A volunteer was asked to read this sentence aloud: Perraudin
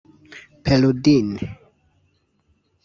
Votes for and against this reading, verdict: 1, 2, rejected